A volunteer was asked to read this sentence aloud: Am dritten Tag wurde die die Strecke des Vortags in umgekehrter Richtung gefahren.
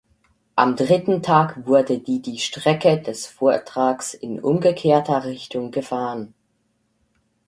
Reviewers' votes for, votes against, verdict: 2, 4, rejected